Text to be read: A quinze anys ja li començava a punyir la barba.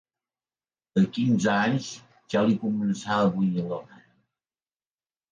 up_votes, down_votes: 1, 2